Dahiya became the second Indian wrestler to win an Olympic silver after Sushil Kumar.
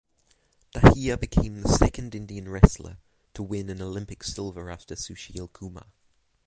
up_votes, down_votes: 3, 3